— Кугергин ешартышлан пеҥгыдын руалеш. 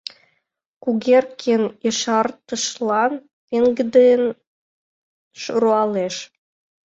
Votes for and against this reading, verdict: 0, 2, rejected